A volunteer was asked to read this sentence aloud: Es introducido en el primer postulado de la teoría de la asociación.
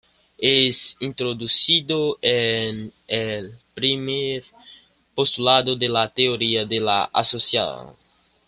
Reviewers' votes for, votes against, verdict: 0, 2, rejected